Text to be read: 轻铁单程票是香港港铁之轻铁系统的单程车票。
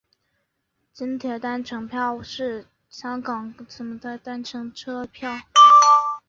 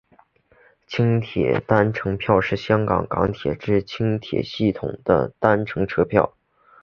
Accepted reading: first